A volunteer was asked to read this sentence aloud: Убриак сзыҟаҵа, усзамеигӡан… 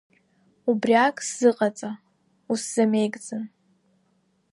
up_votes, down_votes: 2, 0